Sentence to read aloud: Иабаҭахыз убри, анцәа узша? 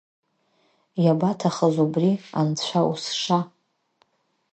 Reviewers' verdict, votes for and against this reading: accepted, 4, 0